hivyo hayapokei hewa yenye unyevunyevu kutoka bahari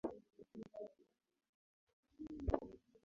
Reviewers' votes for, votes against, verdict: 0, 2, rejected